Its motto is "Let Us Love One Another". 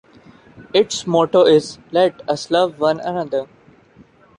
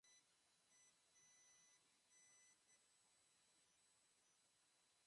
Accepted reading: first